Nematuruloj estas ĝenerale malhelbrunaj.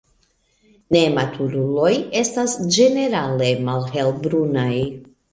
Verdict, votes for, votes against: accepted, 2, 0